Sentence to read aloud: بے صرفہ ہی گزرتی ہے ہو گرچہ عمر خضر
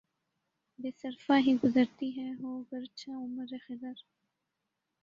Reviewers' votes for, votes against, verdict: 1, 2, rejected